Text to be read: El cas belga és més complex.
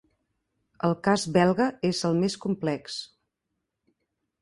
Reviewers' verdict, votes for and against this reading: rejected, 0, 2